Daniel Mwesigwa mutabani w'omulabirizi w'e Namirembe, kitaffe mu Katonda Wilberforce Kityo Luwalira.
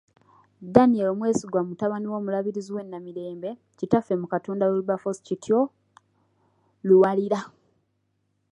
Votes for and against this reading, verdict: 0, 2, rejected